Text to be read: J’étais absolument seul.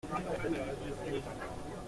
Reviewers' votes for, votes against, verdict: 0, 2, rejected